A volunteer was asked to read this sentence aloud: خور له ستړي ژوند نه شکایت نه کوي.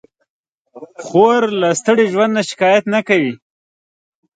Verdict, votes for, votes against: accepted, 2, 0